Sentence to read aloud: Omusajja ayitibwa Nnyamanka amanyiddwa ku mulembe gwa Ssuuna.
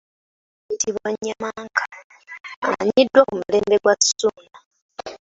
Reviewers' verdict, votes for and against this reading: accepted, 2, 0